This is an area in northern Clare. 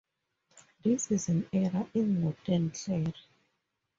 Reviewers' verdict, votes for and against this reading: rejected, 0, 2